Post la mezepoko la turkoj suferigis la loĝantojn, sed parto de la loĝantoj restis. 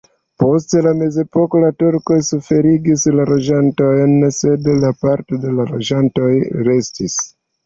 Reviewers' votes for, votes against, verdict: 2, 1, accepted